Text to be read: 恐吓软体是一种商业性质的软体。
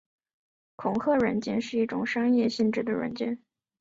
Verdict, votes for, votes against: rejected, 2, 2